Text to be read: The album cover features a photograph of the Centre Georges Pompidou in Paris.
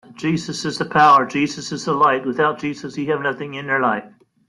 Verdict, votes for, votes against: rejected, 0, 2